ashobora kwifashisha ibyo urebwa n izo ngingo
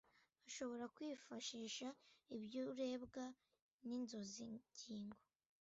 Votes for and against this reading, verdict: 0, 2, rejected